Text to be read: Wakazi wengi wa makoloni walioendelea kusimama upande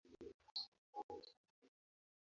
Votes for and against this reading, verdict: 1, 2, rejected